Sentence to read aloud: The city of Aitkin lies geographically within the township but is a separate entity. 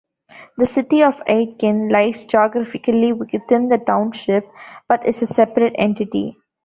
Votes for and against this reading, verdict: 1, 2, rejected